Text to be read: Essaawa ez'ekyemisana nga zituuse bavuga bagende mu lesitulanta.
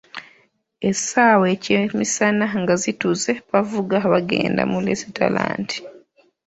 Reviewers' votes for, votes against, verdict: 0, 2, rejected